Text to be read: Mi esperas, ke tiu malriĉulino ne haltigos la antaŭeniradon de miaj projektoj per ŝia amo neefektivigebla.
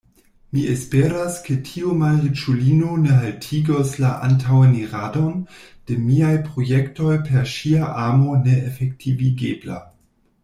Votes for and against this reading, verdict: 2, 1, accepted